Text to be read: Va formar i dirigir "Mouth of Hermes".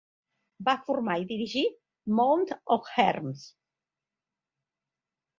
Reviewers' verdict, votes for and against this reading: accepted, 2, 1